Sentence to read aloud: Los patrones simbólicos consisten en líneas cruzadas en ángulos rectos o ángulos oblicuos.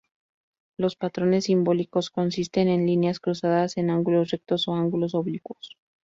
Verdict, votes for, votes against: accepted, 2, 0